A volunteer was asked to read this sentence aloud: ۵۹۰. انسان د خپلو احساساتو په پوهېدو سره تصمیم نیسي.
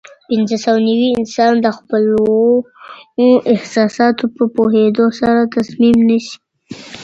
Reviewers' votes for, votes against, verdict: 0, 2, rejected